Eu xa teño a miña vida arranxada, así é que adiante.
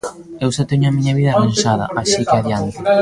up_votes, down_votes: 0, 2